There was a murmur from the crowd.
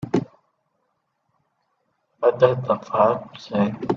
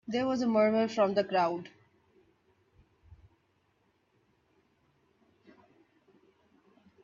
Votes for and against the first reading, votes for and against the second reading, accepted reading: 0, 4, 2, 0, second